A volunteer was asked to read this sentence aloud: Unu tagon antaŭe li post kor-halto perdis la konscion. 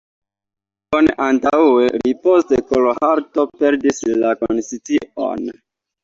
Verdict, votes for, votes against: rejected, 1, 2